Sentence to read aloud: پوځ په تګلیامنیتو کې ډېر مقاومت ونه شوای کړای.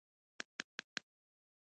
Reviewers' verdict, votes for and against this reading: rejected, 1, 2